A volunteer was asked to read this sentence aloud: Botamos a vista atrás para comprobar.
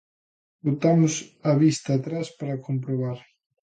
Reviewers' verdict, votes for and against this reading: accepted, 2, 0